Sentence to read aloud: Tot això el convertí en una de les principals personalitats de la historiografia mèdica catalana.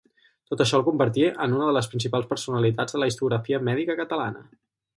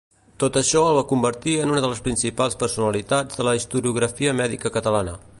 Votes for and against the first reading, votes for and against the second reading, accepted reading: 4, 2, 1, 2, first